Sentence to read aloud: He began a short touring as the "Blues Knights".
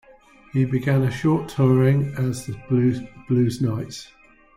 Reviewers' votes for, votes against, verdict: 0, 3, rejected